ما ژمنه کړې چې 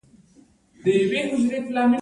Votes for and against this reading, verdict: 0, 2, rejected